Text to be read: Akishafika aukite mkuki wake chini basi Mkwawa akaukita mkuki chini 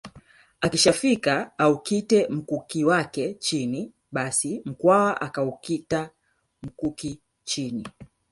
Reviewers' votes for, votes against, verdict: 3, 1, accepted